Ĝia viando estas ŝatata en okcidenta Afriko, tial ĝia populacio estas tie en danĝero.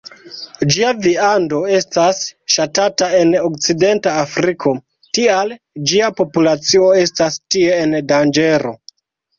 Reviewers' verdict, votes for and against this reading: accepted, 2, 0